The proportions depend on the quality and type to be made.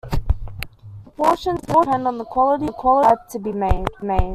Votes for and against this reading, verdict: 0, 2, rejected